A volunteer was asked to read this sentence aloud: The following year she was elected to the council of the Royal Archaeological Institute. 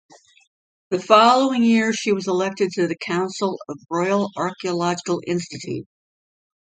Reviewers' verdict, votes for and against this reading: rejected, 1, 2